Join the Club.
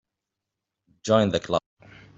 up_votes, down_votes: 1, 4